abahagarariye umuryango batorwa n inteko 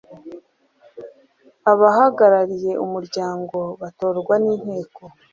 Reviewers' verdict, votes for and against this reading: rejected, 1, 2